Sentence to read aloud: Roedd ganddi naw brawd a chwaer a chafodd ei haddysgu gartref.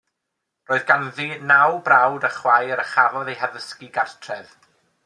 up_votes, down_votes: 2, 0